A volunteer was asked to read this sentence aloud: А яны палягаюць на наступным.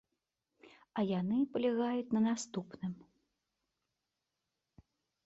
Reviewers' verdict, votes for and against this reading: accepted, 2, 0